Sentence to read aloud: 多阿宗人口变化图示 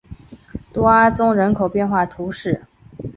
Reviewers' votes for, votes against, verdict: 0, 2, rejected